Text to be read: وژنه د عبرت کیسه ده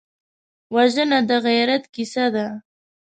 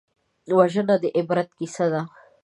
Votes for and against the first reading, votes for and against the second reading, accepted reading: 1, 2, 2, 1, second